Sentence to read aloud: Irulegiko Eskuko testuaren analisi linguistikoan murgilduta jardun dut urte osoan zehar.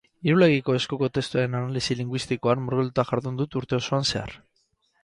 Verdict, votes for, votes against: rejected, 2, 4